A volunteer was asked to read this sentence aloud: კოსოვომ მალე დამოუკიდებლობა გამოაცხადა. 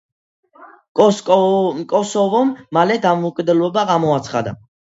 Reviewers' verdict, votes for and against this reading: accepted, 2, 1